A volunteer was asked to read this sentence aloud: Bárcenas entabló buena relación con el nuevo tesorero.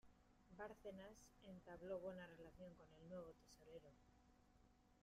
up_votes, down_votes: 0, 2